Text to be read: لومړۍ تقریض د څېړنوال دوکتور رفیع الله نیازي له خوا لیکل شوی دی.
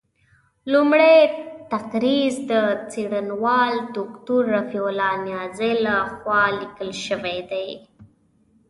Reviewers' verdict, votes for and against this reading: accepted, 2, 0